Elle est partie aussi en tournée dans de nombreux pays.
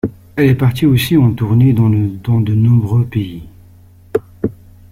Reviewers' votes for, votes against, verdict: 1, 2, rejected